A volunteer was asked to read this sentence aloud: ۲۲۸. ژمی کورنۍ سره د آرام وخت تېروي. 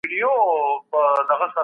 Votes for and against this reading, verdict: 0, 2, rejected